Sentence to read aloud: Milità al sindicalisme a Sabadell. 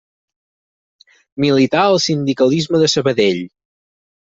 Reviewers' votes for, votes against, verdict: 0, 4, rejected